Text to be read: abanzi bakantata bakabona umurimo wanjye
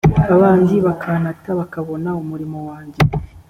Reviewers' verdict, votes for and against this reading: accepted, 2, 0